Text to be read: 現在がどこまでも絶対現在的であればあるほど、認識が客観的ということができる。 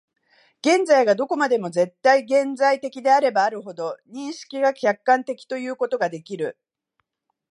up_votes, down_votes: 2, 0